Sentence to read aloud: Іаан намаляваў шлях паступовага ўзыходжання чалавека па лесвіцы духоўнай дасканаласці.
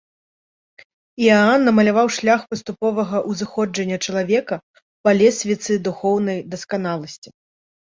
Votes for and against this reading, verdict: 2, 0, accepted